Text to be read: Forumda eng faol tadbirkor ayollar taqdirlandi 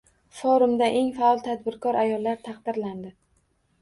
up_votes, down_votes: 2, 0